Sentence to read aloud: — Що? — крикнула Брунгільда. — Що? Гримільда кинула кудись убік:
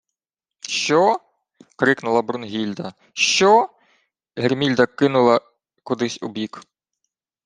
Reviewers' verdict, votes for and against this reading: rejected, 0, 2